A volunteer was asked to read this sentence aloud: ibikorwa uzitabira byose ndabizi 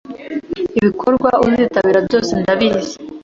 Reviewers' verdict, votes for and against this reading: accepted, 3, 0